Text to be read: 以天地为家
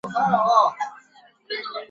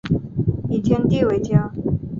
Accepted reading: second